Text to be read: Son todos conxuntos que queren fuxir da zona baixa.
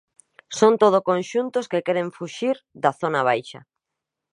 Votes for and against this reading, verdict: 1, 2, rejected